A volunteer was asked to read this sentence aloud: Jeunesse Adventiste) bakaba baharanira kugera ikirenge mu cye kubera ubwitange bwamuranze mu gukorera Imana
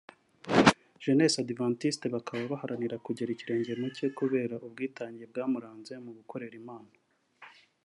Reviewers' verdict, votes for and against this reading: accepted, 2, 0